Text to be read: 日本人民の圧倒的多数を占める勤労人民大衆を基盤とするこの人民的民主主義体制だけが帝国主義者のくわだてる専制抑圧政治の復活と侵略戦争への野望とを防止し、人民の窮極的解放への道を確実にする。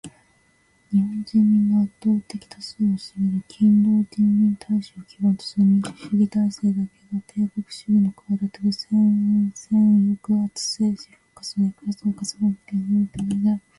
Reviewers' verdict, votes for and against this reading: accepted, 2, 1